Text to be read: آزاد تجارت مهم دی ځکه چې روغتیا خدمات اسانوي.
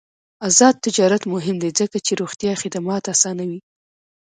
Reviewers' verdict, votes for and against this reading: accepted, 2, 0